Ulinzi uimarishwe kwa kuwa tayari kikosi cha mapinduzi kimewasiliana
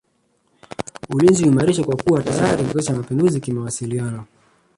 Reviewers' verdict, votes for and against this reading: rejected, 1, 2